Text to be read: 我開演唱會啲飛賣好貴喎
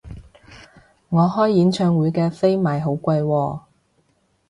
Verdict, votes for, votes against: rejected, 1, 2